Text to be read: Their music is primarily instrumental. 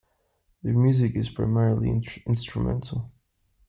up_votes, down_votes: 0, 2